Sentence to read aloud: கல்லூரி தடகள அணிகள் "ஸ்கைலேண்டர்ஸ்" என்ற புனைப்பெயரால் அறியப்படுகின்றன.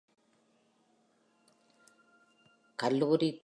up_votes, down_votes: 0, 2